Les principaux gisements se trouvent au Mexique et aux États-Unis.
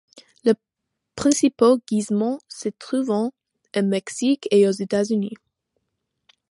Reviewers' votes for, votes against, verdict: 1, 2, rejected